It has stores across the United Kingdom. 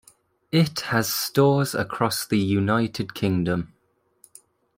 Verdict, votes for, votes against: accepted, 2, 0